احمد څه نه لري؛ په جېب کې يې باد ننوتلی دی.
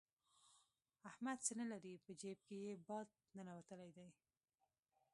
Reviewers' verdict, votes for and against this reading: rejected, 0, 2